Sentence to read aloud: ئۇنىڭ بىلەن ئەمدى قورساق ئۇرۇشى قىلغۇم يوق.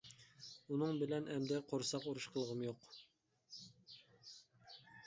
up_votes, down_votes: 2, 0